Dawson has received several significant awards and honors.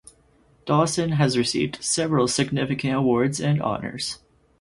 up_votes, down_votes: 4, 0